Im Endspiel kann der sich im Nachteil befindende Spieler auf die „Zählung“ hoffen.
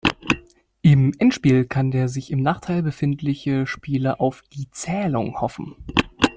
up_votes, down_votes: 0, 2